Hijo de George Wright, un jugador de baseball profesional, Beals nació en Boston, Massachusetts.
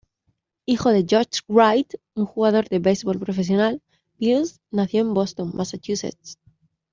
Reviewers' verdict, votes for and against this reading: accepted, 2, 0